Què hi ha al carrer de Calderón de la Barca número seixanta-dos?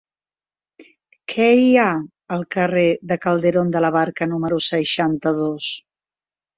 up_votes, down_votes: 3, 0